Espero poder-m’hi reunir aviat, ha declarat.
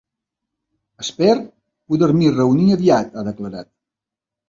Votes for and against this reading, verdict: 0, 3, rejected